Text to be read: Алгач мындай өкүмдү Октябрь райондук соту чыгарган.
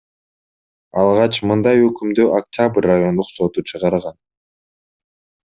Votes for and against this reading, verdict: 2, 0, accepted